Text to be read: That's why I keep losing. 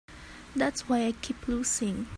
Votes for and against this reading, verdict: 3, 0, accepted